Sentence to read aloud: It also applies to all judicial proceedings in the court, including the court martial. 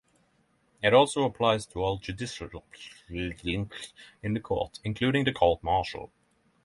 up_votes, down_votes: 0, 6